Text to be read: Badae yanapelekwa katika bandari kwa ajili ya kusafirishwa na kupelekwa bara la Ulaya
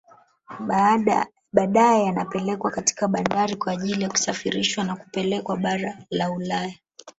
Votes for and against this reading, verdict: 2, 1, accepted